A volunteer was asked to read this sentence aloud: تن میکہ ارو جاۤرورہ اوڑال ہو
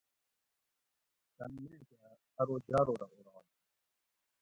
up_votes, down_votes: 0, 2